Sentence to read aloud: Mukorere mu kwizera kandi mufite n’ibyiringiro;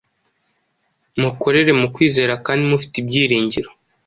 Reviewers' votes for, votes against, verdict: 2, 0, accepted